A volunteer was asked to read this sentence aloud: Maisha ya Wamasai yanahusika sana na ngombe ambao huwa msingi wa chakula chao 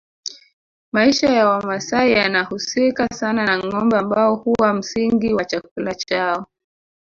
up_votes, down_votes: 1, 2